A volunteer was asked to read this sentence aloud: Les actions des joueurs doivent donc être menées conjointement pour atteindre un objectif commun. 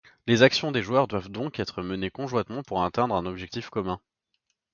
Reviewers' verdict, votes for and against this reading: accepted, 3, 0